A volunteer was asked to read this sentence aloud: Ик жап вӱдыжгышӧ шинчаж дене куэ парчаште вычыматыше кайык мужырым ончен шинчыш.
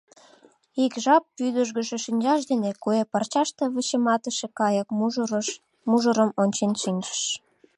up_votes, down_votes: 0, 2